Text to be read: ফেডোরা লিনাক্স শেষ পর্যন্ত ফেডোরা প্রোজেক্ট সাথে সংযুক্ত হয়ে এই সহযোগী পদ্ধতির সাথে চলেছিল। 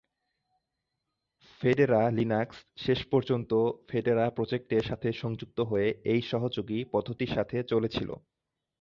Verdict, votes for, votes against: rejected, 2, 3